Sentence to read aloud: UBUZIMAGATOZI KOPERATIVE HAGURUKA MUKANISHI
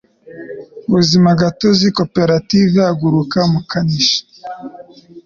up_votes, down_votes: 2, 0